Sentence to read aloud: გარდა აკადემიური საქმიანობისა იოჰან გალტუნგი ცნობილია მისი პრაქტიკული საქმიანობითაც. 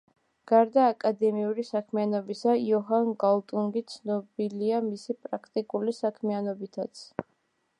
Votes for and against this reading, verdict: 3, 1, accepted